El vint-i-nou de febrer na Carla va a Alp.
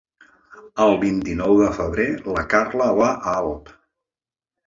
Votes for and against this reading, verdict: 1, 2, rejected